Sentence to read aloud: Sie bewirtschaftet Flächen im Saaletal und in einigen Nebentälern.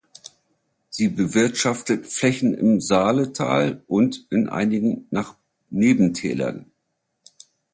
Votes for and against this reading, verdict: 0, 2, rejected